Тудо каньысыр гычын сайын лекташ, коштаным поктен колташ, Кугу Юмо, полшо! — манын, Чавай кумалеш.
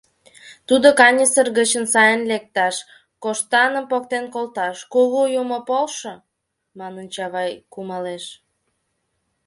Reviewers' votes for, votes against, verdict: 2, 0, accepted